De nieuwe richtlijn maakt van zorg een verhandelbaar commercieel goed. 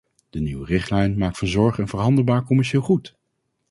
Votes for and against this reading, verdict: 2, 0, accepted